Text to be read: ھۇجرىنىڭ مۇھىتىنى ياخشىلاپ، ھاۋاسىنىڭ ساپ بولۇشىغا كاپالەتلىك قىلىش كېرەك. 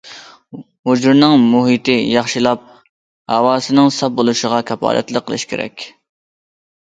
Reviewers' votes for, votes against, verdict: 0, 2, rejected